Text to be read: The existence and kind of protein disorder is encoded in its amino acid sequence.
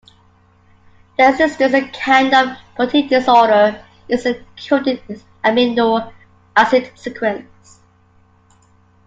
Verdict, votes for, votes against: rejected, 0, 2